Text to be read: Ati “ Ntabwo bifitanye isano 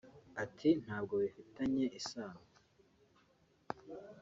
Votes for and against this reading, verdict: 0, 2, rejected